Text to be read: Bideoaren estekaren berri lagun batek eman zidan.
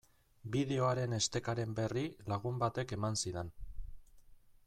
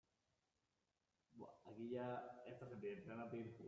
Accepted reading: first